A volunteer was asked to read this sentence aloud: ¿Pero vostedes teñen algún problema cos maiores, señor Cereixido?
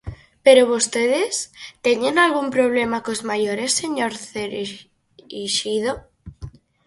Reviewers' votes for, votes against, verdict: 0, 4, rejected